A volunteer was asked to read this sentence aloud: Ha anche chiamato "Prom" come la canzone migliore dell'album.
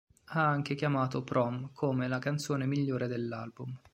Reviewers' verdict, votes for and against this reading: accepted, 3, 0